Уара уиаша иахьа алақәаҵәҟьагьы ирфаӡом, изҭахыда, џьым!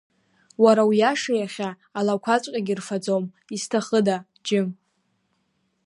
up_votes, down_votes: 2, 0